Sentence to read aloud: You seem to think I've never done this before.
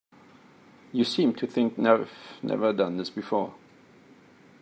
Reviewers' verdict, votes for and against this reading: rejected, 0, 2